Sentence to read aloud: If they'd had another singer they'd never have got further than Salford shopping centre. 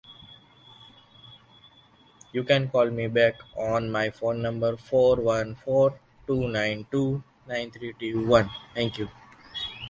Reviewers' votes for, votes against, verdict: 0, 2, rejected